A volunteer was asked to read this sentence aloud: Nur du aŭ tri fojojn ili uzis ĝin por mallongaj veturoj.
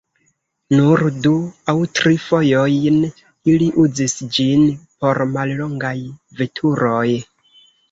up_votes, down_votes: 0, 2